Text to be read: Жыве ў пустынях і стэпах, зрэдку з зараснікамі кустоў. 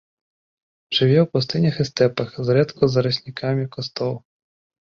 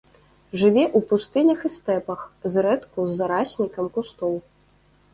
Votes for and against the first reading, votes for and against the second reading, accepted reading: 2, 1, 1, 3, first